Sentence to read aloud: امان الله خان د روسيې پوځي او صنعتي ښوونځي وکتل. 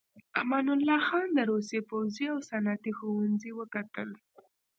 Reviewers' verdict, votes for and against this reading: accepted, 2, 1